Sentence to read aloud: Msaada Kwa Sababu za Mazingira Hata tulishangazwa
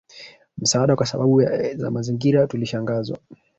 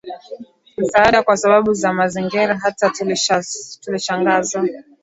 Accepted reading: second